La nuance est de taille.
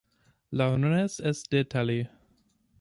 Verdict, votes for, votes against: rejected, 0, 2